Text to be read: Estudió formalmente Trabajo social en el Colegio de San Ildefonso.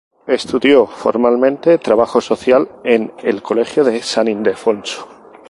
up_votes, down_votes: 0, 2